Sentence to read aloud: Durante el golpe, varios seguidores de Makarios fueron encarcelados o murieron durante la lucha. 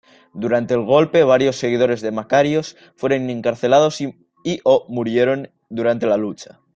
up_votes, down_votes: 0, 2